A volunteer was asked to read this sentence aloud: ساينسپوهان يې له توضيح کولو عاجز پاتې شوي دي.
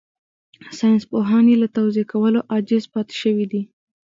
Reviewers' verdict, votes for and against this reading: accepted, 2, 0